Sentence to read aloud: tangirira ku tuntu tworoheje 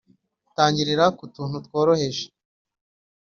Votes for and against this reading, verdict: 4, 1, accepted